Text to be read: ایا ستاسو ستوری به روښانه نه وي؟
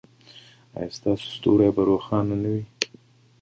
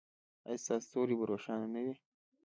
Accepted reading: first